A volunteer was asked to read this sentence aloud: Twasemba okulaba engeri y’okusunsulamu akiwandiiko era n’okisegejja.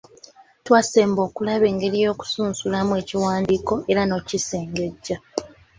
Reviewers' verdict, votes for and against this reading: accepted, 2, 0